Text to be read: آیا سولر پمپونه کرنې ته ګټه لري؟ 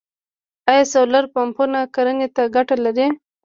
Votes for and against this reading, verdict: 2, 0, accepted